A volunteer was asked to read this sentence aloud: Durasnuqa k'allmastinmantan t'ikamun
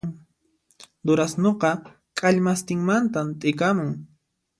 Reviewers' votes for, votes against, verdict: 2, 0, accepted